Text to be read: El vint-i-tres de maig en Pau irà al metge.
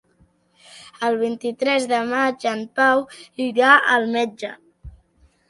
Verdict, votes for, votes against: accepted, 2, 0